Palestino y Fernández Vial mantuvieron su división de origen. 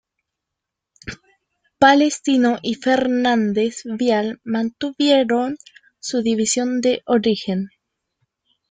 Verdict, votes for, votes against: rejected, 1, 2